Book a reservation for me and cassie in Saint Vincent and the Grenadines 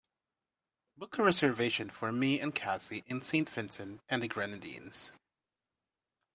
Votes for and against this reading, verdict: 2, 0, accepted